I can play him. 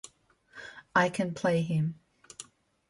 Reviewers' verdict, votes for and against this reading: accepted, 2, 0